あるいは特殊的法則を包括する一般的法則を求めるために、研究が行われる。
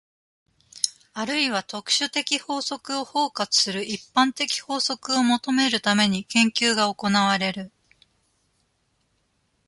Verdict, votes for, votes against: accepted, 2, 0